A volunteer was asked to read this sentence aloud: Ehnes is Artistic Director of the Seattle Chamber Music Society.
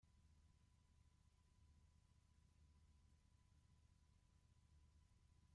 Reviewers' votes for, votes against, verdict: 0, 2, rejected